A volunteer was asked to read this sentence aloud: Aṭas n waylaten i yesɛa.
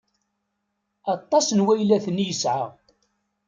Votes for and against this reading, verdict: 2, 0, accepted